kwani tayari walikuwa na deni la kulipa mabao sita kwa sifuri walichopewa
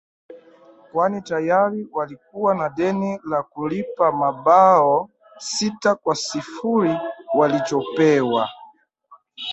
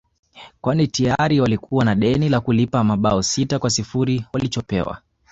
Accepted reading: second